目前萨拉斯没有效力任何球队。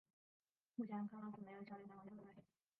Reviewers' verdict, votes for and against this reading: rejected, 4, 6